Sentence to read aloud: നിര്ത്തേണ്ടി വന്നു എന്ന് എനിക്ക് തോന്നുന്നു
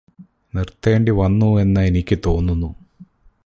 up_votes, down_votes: 0, 2